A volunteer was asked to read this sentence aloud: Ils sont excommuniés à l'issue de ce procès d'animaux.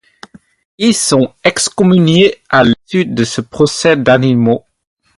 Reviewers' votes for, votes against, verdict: 4, 2, accepted